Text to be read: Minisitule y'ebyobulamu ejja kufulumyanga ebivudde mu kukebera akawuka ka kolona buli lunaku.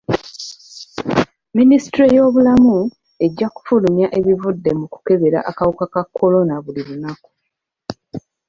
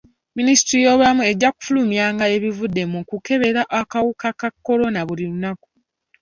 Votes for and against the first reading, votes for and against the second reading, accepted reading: 0, 2, 2, 0, second